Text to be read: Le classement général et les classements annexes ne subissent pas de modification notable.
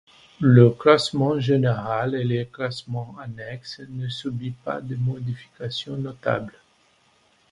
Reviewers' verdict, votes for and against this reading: rejected, 1, 2